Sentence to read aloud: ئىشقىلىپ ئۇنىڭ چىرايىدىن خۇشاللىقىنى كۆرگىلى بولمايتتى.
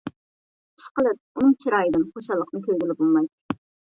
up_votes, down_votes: 0, 2